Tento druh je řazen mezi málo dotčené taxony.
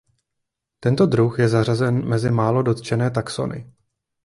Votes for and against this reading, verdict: 1, 2, rejected